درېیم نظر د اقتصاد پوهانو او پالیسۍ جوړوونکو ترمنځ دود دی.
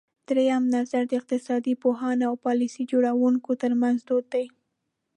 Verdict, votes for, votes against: accepted, 2, 0